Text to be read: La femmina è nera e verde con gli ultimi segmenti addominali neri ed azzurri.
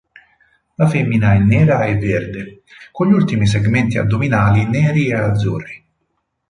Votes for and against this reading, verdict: 2, 4, rejected